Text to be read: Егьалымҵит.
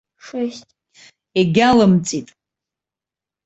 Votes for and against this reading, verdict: 1, 2, rejected